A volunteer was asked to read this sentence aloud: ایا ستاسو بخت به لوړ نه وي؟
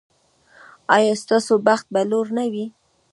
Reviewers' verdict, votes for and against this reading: rejected, 0, 2